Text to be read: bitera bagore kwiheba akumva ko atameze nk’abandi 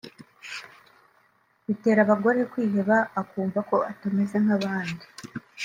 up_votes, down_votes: 2, 0